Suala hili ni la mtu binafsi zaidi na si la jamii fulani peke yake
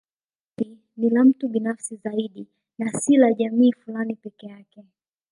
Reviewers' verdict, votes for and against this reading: rejected, 0, 2